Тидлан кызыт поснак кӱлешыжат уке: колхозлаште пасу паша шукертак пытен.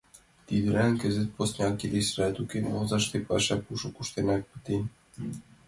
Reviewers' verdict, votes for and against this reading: rejected, 0, 2